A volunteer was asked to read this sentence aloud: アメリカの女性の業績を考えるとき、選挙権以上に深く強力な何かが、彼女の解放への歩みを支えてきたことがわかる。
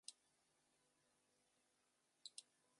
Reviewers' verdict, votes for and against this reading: rejected, 0, 2